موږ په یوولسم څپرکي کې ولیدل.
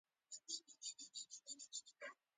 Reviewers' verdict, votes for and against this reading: rejected, 1, 2